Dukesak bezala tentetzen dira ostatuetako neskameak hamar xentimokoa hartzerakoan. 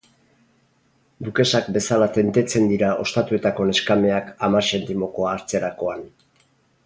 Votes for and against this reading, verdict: 4, 0, accepted